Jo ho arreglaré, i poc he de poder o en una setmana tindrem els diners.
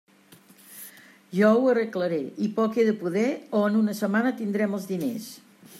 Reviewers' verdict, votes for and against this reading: accepted, 3, 0